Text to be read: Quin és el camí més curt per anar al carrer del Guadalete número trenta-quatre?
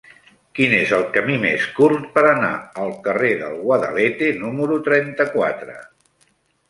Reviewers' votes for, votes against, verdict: 3, 0, accepted